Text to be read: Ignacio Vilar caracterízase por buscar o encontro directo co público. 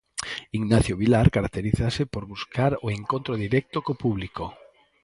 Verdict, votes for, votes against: accepted, 6, 0